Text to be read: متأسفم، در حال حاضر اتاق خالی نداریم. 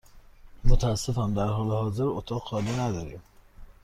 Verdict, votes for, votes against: accepted, 2, 0